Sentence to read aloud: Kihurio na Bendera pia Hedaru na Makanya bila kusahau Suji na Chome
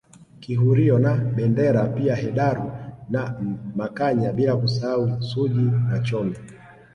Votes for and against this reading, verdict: 2, 1, accepted